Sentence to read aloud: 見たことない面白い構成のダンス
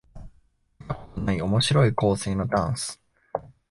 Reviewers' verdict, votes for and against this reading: rejected, 1, 2